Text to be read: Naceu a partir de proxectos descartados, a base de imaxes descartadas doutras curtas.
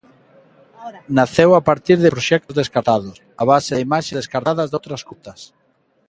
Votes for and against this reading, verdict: 1, 2, rejected